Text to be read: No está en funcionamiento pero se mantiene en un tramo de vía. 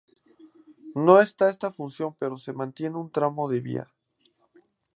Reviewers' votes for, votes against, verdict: 0, 2, rejected